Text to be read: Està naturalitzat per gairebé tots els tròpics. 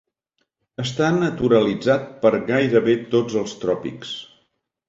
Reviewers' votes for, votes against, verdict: 2, 0, accepted